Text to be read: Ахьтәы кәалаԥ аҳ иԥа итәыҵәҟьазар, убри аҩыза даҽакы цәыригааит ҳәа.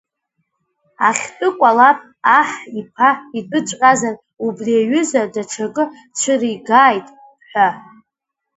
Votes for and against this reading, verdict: 2, 0, accepted